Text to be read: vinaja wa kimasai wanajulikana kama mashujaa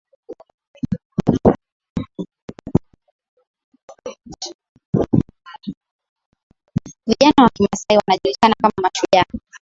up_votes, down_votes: 0, 2